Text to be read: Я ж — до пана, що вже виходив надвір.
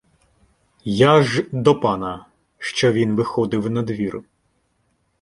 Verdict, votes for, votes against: rejected, 1, 2